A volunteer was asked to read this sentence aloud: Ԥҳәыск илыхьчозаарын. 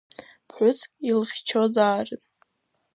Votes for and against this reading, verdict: 2, 0, accepted